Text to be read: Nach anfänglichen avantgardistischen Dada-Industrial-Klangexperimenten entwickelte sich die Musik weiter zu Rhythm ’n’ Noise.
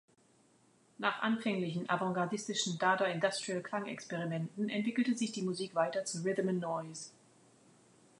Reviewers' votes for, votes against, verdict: 2, 0, accepted